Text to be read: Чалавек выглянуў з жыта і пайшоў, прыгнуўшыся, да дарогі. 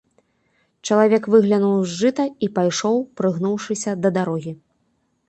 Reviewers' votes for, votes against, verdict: 2, 0, accepted